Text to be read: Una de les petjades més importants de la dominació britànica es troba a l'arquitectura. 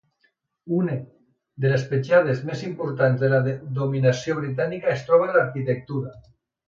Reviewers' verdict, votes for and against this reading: rejected, 1, 2